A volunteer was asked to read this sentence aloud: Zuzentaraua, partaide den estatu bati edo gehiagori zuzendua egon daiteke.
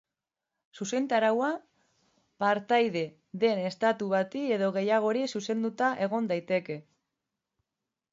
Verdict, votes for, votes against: rejected, 0, 2